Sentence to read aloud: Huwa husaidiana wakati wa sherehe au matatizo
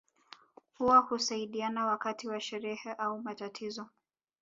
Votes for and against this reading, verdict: 1, 2, rejected